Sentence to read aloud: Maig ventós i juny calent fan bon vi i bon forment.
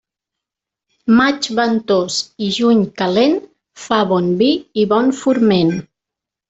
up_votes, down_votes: 1, 2